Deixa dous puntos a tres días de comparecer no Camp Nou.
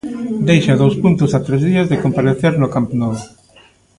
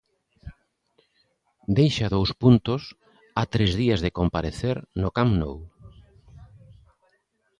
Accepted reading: first